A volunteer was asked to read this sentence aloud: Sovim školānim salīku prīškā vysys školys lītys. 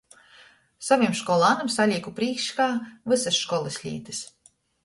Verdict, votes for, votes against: accepted, 2, 0